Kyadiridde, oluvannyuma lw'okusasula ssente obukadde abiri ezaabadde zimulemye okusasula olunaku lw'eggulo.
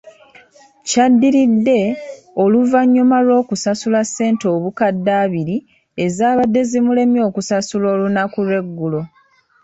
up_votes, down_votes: 2, 1